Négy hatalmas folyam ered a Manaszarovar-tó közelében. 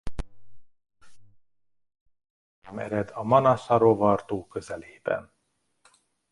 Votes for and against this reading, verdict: 0, 2, rejected